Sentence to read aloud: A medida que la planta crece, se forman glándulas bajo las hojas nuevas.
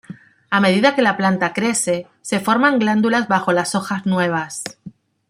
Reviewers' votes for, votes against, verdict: 2, 0, accepted